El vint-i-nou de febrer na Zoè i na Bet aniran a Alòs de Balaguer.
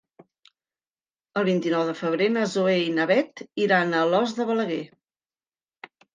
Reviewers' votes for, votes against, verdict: 0, 2, rejected